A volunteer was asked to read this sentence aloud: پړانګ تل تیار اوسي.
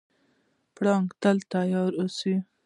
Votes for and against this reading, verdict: 2, 0, accepted